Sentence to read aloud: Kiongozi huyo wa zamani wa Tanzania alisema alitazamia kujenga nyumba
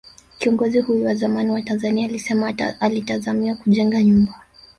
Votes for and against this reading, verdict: 1, 3, rejected